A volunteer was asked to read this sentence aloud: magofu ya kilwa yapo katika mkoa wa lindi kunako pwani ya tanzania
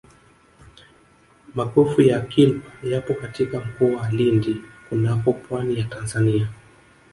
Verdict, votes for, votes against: accepted, 3, 1